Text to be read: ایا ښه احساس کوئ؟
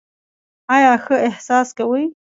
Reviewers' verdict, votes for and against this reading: accepted, 2, 1